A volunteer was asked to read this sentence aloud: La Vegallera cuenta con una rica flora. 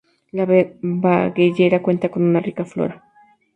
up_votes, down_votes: 2, 0